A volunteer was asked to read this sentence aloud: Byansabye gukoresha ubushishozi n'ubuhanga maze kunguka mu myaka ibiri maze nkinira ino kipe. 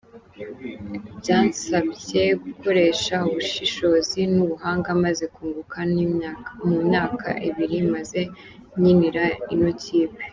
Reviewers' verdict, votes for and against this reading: rejected, 0, 2